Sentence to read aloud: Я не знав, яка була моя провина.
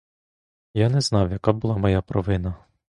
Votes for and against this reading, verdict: 2, 0, accepted